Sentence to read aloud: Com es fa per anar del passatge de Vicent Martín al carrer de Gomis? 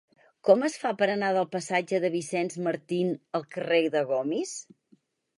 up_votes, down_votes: 4, 0